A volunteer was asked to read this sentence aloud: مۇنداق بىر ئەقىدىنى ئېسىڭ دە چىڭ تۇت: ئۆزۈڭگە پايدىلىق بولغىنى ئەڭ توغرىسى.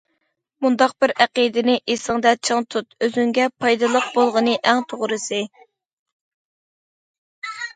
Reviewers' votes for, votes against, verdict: 2, 0, accepted